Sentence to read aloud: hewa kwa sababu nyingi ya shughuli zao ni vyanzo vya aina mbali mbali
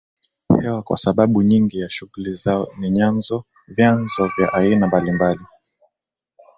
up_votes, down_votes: 0, 2